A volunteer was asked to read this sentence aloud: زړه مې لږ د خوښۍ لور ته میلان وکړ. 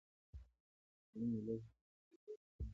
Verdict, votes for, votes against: rejected, 1, 2